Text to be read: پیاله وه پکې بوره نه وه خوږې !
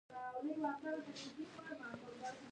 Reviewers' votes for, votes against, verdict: 1, 2, rejected